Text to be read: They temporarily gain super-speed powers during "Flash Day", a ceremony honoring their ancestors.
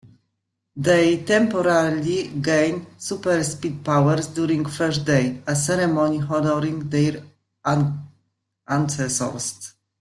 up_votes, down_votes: 0, 2